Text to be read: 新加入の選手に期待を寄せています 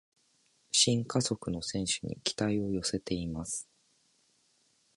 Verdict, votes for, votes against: rejected, 1, 2